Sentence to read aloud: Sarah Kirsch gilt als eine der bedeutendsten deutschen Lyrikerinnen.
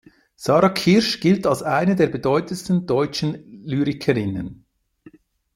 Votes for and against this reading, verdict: 2, 1, accepted